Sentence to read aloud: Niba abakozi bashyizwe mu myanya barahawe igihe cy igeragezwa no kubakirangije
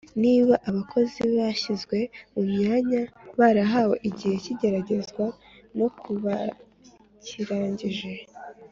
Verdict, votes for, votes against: accepted, 2, 0